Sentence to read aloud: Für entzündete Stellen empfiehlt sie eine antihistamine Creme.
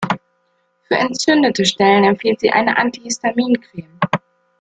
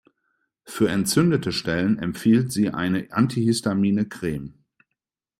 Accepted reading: second